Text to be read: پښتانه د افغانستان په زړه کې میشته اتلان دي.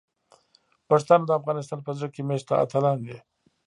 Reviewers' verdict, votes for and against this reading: accepted, 2, 0